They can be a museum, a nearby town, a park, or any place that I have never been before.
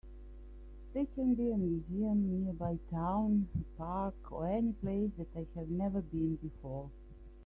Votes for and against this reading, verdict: 2, 4, rejected